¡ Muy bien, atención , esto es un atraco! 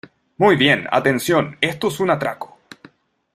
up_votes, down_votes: 2, 0